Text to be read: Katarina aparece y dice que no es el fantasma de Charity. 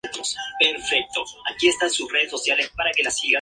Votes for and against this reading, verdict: 0, 2, rejected